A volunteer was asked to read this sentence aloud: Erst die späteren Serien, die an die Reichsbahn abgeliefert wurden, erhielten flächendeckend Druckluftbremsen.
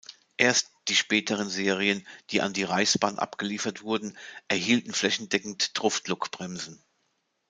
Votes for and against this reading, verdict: 0, 2, rejected